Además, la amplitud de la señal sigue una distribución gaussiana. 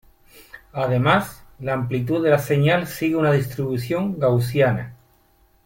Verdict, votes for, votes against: rejected, 1, 2